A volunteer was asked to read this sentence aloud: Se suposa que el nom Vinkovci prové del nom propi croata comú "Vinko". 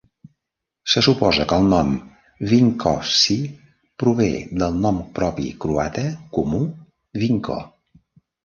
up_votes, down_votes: 1, 2